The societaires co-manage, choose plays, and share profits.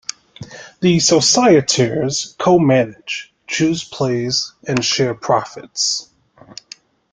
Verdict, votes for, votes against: accepted, 2, 0